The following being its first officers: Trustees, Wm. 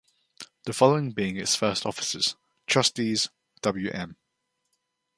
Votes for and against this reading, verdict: 2, 0, accepted